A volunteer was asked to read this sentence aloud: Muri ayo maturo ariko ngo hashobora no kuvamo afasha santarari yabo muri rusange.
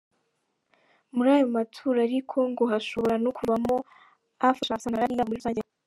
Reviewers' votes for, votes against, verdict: 1, 2, rejected